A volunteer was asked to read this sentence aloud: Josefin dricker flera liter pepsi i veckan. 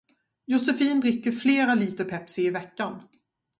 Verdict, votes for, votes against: accepted, 2, 0